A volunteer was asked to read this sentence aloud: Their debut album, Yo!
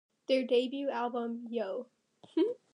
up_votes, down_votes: 2, 0